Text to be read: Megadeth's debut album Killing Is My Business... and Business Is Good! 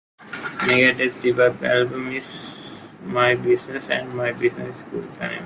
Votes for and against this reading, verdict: 0, 2, rejected